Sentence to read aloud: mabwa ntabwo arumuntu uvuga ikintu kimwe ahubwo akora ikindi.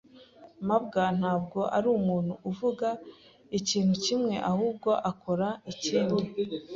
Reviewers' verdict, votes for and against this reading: accepted, 2, 0